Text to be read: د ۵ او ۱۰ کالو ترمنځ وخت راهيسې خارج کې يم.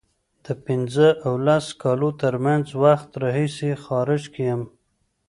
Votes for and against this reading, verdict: 0, 2, rejected